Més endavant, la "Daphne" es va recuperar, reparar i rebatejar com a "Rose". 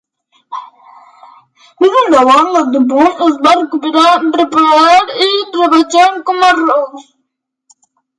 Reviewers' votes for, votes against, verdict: 0, 2, rejected